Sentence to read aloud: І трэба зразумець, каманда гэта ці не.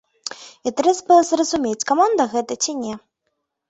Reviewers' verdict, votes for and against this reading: rejected, 0, 2